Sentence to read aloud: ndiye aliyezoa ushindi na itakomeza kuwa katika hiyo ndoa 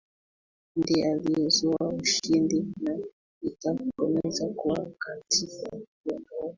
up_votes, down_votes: 0, 2